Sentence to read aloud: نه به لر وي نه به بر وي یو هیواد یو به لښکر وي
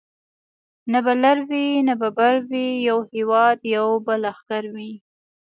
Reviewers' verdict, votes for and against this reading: accepted, 2, 0